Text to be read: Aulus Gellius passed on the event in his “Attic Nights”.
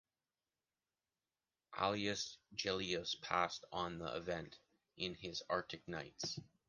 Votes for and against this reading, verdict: 1, 2, rejected